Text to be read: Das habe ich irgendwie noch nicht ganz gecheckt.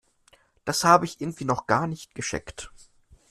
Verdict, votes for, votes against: accepted, 2, 0